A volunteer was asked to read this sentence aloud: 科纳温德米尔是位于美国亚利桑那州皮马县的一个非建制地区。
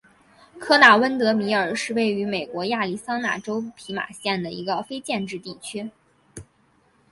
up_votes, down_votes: 4, 1